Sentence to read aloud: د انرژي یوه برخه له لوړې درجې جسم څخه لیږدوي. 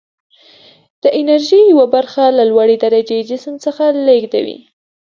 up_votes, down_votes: 2, 0